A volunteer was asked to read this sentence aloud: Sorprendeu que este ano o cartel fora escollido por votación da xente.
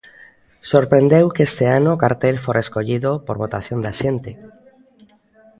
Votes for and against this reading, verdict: 1, 2, rejected